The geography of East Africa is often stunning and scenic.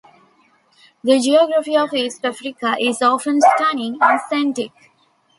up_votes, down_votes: 1, 2